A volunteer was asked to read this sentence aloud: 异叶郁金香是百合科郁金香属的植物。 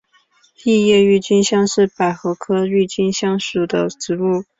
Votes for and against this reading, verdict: 3, 1, accepted